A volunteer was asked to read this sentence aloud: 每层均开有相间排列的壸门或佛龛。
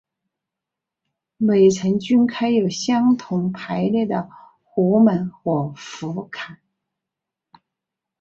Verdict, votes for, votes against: accepted, 2, 1